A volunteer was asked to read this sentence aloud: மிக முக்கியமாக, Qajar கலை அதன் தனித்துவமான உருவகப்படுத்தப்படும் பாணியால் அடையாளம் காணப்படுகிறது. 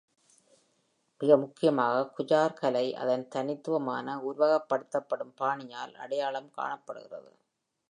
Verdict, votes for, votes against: accepted, 2, 0